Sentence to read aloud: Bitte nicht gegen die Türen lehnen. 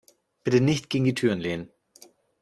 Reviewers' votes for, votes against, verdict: 2, 0, accepted